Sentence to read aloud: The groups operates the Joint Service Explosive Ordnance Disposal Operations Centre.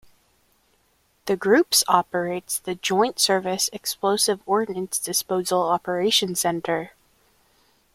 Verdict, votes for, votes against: accepted, 3, 0